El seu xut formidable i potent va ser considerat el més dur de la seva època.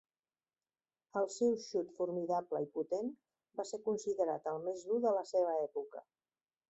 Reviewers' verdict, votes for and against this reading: rejected, 0, 2